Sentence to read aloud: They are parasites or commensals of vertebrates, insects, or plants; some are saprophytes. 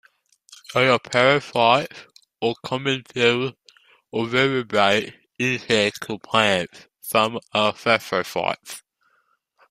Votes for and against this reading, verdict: 1, 2, rejected